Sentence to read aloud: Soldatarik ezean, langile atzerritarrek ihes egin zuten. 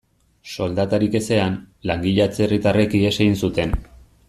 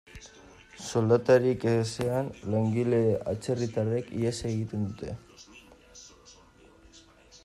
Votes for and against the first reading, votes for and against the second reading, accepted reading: 2, 0, 0, 2, first